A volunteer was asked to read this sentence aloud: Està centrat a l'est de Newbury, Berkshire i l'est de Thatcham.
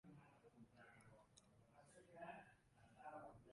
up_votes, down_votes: 0, 2